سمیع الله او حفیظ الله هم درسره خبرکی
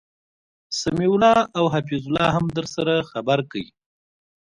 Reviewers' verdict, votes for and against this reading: accepted, 2, 0